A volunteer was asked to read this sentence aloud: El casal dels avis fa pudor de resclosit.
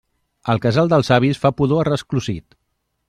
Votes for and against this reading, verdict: 0, 2, rejected